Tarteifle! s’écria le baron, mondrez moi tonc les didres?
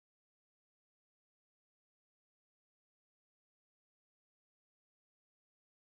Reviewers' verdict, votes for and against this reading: rejected, 0, 2